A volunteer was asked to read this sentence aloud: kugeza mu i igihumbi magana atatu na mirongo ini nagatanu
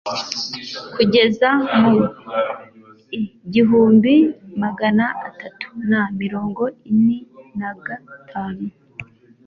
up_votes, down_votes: 2, 0